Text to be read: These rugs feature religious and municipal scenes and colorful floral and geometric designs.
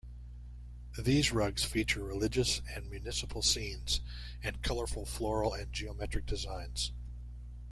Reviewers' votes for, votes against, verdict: 2, 0, accepted